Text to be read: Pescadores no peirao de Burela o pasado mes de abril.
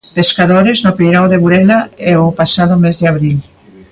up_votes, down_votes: 0, 2